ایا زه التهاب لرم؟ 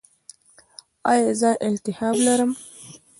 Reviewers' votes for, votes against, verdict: 1, 2, rejected